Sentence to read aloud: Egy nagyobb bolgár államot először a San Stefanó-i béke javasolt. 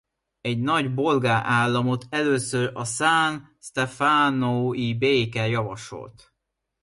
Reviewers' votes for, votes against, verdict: 0, 2, rejected